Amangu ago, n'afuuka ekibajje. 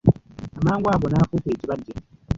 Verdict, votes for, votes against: rejected, 0, 2